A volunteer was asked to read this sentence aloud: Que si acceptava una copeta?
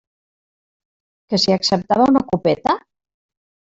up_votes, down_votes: 1, 2